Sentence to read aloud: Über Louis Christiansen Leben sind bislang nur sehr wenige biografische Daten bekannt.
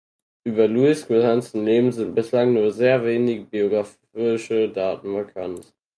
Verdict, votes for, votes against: rejected, 0, 4